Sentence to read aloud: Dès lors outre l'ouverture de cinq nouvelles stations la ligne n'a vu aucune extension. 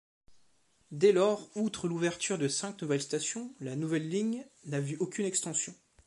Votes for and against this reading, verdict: 1, 2, rejected